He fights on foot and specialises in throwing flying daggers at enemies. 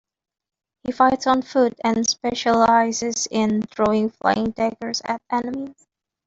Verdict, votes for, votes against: accepted, 2, 0